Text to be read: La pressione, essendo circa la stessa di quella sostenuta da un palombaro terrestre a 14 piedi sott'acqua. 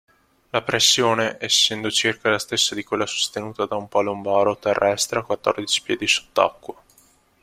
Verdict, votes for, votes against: rejected, 0, 2